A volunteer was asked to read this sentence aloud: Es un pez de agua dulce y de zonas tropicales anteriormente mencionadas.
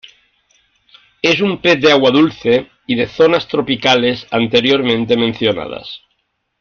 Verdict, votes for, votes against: accepted, 2, 0